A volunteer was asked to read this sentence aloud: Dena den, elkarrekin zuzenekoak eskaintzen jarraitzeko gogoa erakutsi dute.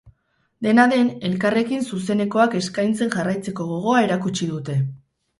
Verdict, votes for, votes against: rejected, 2, 2